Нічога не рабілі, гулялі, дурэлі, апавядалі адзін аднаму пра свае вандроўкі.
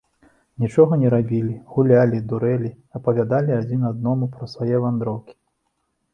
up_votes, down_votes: 0, 2